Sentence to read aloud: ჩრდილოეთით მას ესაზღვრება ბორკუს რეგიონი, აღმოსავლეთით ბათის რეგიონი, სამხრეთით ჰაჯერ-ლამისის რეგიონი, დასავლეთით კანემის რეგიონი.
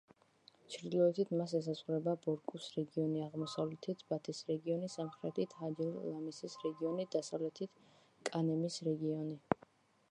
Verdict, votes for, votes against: accepted, 2, 1